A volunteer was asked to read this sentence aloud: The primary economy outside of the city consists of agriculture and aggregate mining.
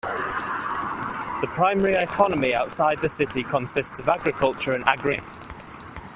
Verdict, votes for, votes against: rejected, 0, 2